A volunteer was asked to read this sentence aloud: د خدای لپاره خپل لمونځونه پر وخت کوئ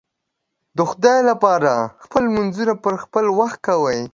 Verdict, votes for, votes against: rejected, 1, 2